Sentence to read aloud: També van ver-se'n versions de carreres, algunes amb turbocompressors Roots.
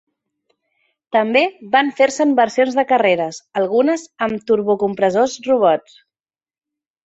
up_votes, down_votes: 1, 2